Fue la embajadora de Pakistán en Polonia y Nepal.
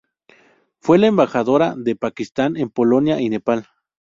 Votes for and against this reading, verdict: 4, 0, accepted